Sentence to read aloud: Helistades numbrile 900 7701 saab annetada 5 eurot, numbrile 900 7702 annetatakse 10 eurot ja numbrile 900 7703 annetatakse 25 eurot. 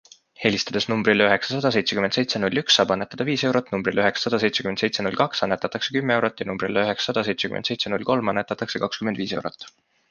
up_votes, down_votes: 0, 2